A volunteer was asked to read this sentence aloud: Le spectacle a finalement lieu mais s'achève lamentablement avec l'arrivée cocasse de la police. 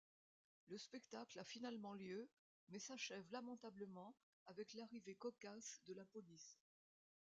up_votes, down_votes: 1, 2